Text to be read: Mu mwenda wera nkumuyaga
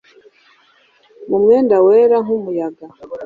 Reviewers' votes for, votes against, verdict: 2, 0, accepted